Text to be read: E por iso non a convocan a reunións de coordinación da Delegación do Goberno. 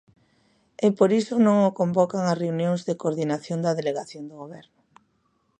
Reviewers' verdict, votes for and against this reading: rejected, 0, 2